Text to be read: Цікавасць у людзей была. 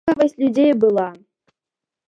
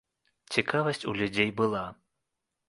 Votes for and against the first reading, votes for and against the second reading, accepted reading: 0, 2, 2, 0, second